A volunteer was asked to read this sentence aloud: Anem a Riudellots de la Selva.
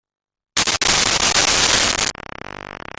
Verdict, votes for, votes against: rejected, 0, 2